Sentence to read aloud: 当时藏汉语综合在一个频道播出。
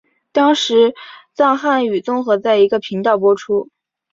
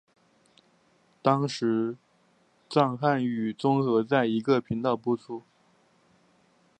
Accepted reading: second